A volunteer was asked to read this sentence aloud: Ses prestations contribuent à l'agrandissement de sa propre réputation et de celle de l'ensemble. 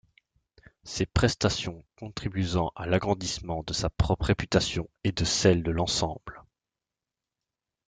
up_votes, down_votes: 0, 2